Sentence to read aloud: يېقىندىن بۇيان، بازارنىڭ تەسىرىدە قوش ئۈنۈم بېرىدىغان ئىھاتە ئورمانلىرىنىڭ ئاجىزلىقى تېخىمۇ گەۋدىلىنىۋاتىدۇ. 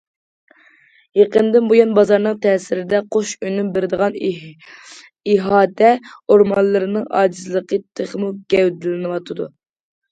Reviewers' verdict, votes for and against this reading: rejected, 1, 2